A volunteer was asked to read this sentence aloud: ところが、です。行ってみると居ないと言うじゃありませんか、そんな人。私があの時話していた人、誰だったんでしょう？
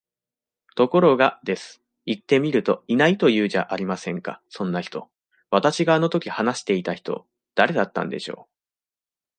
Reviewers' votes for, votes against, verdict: 2, 0, accepted